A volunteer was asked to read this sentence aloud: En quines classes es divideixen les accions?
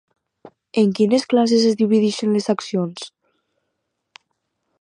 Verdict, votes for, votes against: accepted, 4, 0